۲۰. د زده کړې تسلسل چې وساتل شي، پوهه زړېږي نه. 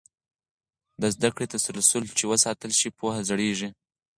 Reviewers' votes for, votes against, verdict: 0, 2, rejected